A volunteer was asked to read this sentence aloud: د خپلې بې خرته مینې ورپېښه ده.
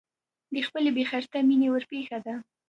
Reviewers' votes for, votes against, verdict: 3, 2, accepted